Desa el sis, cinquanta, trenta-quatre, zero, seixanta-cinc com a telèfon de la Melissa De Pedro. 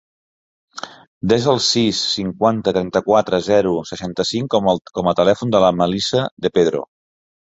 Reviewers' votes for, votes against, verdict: 0, 2, rejected